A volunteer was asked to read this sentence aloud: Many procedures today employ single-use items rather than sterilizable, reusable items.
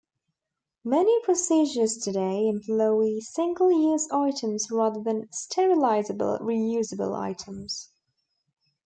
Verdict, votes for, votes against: accepted, 2, 0